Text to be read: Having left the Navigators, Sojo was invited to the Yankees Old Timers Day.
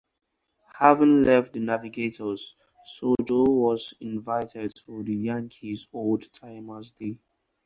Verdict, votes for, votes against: rejected, 2, 2